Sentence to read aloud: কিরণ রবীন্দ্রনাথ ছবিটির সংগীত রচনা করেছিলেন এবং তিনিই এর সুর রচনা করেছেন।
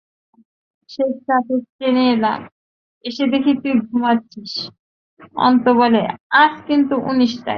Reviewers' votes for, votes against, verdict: 0, 2, rejected